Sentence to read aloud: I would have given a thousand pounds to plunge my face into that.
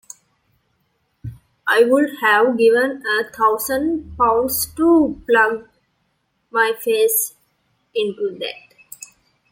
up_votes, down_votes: 2, 0